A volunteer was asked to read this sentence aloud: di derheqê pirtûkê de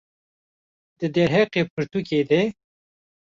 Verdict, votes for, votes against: accepted, 2, 0